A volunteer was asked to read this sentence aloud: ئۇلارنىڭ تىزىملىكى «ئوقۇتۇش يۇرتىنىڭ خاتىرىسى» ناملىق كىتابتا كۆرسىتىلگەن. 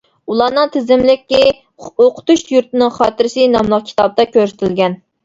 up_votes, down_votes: 1, 2